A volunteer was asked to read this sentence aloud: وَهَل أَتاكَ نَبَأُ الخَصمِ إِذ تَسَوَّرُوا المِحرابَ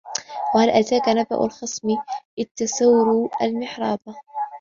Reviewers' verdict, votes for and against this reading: rejected, 0, 2